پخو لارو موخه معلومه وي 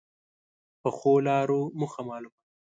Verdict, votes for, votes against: rejected, 1, 2